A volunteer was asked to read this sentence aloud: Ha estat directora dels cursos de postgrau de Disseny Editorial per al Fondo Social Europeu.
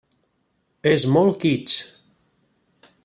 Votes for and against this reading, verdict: 0, 2, rejected